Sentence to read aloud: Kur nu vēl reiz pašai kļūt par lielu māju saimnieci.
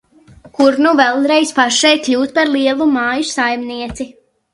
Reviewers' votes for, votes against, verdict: 1, 2, rejected